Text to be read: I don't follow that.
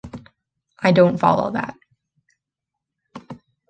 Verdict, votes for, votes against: accepted, 2, 0